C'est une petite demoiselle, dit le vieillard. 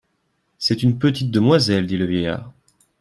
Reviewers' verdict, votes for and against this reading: accepted, 2, 0